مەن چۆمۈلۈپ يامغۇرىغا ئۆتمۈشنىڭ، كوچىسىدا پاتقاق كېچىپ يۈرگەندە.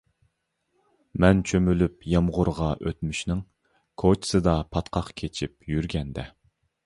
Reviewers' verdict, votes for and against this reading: accepted, 2, 0